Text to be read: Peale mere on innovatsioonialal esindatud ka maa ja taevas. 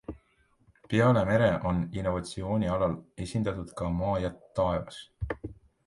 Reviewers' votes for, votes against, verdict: 2, 0, accepted